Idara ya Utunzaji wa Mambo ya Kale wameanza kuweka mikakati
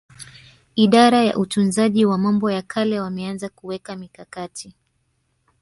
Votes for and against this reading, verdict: 2, 0, accepted